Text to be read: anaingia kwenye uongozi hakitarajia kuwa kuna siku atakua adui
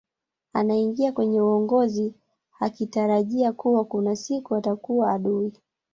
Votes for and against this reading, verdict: 2, 0, accepted